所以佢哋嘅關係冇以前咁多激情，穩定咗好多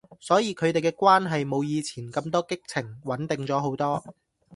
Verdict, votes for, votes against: accepted, 2, 0